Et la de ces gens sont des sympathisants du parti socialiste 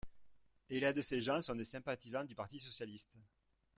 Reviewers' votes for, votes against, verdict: 0, 2, rejected